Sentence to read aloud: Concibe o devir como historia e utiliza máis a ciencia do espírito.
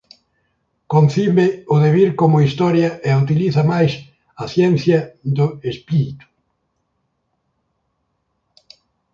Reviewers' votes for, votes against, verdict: 11, 4, accepted